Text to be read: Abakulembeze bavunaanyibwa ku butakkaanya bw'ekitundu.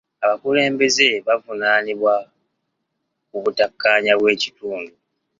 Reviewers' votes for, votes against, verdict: 2, 1, accepted